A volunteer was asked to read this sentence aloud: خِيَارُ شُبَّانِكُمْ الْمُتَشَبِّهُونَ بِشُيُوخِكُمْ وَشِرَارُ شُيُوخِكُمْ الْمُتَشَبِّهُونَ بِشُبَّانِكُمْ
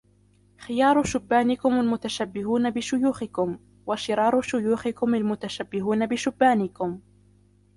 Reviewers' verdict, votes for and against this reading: rejected, 0, 2